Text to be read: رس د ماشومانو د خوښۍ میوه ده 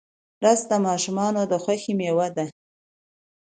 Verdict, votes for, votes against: accepted, 2, 0